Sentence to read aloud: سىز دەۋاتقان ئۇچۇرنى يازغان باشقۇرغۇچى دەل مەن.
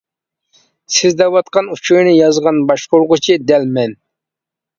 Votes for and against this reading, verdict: 2, 0, accepted